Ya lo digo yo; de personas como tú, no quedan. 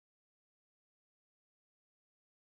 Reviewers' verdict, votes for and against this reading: rejected, 0, 2